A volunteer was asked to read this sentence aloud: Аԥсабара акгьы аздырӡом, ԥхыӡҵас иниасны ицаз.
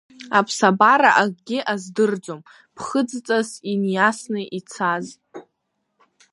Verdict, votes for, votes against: rejected, 1, 2